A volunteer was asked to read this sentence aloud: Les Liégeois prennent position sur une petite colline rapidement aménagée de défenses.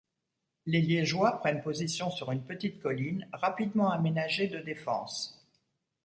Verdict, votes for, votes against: accepted, 2, 0